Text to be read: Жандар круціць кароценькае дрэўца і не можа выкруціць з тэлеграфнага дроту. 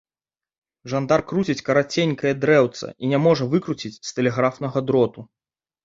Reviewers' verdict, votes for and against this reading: rejected, 0, 2